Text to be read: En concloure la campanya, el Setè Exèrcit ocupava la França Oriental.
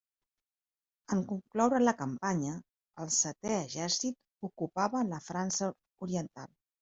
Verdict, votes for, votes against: accepted, 3, 0